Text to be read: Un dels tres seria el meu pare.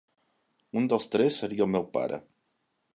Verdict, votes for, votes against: accepted, 2, 0